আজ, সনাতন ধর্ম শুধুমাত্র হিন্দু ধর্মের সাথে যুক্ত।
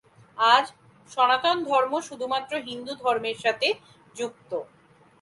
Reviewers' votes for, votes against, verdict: 2, 0, accepted